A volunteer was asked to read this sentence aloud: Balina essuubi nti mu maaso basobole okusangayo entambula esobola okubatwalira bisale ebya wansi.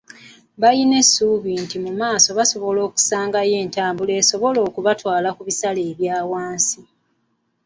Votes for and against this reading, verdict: 2, 0, accepted